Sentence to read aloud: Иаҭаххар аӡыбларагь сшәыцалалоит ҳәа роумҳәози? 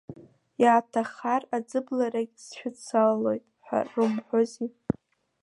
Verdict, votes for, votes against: rejected, 1, 2